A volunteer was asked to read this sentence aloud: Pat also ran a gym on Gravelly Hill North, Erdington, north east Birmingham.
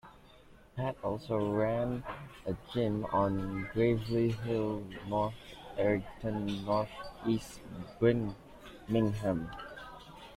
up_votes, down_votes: 1, 2